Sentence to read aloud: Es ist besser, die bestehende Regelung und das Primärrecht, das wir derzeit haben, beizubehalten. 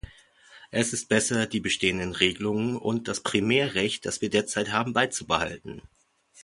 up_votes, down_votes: 0, 2